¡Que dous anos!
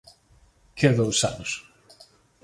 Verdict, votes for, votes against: accepted, 2, 0